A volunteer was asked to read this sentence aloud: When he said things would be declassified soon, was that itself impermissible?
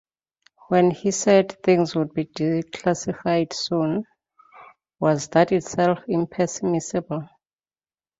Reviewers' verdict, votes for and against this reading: rejected, 0, 2